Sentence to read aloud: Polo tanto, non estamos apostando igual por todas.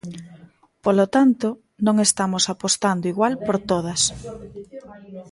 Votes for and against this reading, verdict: 2, 1, accepted